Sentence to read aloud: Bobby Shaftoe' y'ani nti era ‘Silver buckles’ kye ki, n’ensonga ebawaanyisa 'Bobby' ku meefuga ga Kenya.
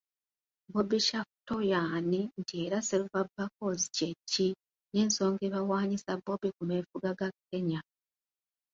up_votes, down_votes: 2, 1